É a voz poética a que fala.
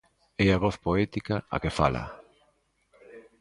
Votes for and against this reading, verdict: 1, 2, rejected